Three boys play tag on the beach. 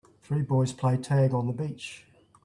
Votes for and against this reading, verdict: 2, 0, accepted